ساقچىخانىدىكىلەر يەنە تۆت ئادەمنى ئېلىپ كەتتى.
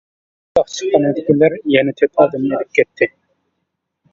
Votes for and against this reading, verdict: 0, 2, rejected